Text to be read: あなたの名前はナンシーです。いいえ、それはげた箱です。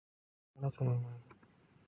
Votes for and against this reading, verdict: 0, 2, rejected